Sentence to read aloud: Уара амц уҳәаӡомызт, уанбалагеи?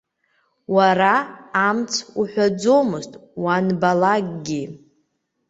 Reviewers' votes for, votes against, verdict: 1, 2, rejected